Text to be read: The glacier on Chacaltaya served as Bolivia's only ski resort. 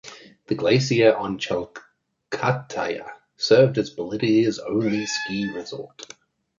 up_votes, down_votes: 1, 2